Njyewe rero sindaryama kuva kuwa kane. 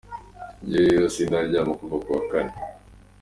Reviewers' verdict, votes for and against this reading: accepted, 2, 0